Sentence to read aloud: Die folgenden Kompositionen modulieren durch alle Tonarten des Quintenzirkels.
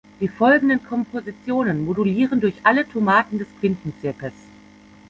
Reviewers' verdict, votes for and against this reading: rejected, 0, 2